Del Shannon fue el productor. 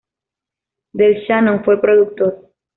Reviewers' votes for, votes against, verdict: 1, 2, rejected